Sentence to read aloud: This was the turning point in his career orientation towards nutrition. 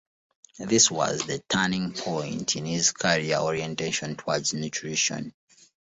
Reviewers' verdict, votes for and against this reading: accepted, 3, 0